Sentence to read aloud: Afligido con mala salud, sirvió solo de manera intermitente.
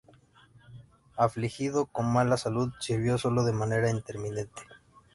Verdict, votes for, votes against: rejected, 0, 2